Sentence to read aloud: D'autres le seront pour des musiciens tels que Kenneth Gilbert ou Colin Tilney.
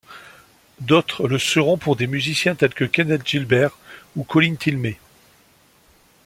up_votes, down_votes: 2, 0